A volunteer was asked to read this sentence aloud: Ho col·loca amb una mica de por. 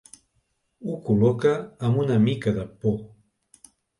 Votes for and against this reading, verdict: 4, 0, accepted